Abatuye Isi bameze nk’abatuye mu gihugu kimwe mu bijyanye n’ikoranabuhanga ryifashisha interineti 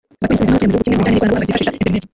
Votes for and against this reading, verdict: 0, 2, rejected